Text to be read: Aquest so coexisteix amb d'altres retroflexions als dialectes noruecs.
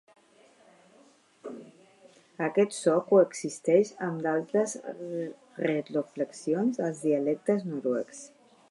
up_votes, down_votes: 1, 2